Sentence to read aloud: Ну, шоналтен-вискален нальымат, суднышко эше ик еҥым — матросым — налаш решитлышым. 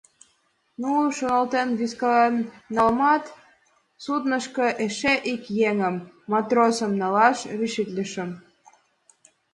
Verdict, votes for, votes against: rejected, 1, 2